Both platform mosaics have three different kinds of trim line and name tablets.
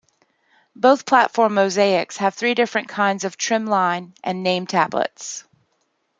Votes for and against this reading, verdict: 2, 0, accepted